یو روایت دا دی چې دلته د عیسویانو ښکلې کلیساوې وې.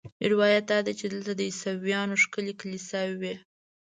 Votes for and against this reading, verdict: 2, 0, accepted